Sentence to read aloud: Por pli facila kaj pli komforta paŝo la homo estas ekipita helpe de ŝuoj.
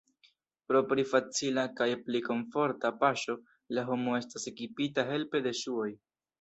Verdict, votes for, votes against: rejected, 1, 2